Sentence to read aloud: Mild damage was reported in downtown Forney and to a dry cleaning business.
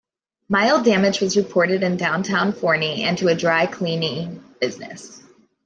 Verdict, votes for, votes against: accepted, 2, 0